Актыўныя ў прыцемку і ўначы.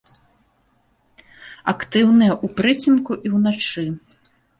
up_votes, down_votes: 2, 0